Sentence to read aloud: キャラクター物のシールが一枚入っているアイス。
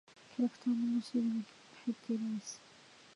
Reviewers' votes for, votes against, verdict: 0, 2, rejected